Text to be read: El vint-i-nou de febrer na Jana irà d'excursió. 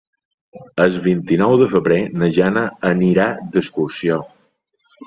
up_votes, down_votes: 1, 2